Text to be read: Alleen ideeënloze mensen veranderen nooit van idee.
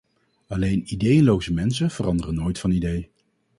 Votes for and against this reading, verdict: 2, 2, rejected